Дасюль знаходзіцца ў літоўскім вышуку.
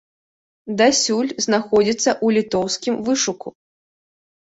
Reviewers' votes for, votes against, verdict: 4, 0, accepted